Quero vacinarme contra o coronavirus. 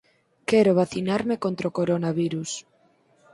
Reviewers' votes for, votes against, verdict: 4, 0, accepted